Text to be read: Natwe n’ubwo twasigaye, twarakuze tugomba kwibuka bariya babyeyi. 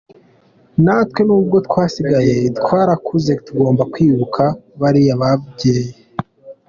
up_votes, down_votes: 0, 2